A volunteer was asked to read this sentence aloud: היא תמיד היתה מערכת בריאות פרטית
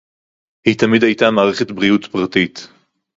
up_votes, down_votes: 2, 0